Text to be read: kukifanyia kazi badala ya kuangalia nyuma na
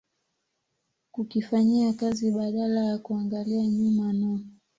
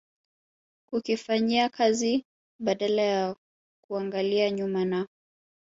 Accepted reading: first